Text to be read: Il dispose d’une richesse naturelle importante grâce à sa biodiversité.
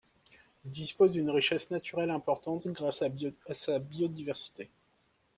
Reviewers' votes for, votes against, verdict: 0, 2, rejected